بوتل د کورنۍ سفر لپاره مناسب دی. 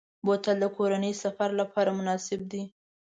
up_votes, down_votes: 2, 0